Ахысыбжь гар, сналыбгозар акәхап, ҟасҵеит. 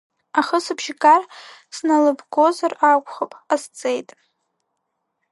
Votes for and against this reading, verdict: 2, 3, rejected